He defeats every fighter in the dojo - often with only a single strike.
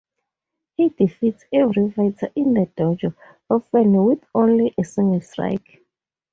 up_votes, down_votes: 2, 2